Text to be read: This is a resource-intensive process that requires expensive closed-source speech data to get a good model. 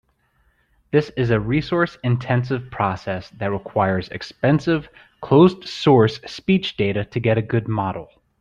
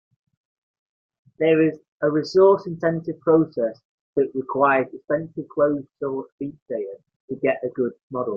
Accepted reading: first